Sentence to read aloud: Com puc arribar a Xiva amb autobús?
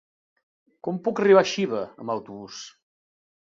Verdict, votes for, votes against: accepted, 3, 0